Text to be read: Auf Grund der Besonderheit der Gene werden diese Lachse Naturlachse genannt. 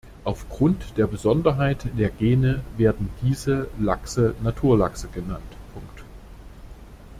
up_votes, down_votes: 0, 2